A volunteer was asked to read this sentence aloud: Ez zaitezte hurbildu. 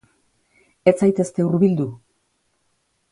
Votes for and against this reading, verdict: 3, 0, accepted